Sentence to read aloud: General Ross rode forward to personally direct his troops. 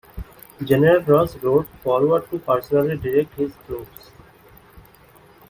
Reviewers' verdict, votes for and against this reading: accepted, 2, 0